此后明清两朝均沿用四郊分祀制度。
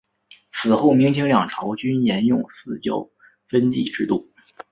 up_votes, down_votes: 3, 2